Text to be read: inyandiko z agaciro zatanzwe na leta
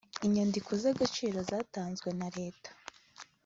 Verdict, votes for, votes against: accepted, 3, 0